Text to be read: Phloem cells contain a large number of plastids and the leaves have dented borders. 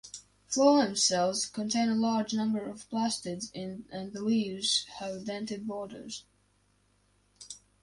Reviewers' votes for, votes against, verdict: 0, 2, rejected